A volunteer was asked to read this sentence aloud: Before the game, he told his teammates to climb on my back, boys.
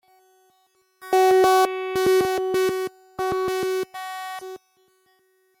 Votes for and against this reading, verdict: 0, 2, rejected